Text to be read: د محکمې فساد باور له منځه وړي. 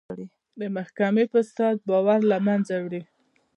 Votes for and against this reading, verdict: 1, 2, rejected